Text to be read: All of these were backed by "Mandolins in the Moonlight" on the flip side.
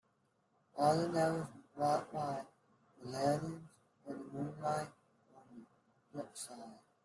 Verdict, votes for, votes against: rejected, 0, 2